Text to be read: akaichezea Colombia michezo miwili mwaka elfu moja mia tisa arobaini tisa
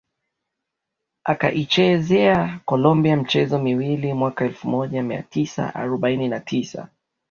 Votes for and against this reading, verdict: 2, 0, accepted